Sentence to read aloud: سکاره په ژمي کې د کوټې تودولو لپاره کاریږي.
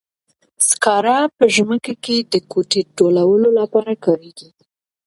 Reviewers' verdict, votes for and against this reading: accepted, 2, 0